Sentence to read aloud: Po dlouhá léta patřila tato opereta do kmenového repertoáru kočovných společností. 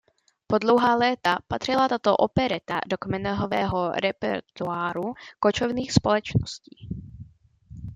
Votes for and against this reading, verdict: 0, 2, rejected